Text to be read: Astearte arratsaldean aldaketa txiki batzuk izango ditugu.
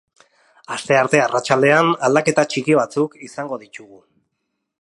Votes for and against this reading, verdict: 0, 2, rejected